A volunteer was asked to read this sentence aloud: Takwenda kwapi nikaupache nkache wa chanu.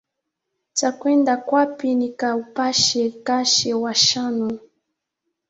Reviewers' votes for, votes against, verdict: 4, 1, accepted